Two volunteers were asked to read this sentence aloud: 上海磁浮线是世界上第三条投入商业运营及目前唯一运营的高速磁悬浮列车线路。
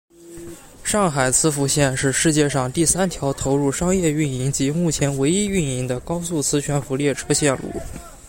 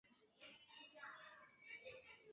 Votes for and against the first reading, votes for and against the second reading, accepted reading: 2, 0, 1, 2, first